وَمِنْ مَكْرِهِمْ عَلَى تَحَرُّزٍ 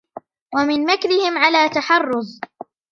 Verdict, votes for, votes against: rejected, 1, 2